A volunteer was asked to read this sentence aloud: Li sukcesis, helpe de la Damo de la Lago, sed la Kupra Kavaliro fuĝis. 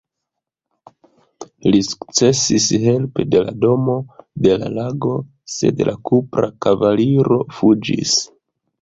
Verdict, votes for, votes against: rejected, 0, 3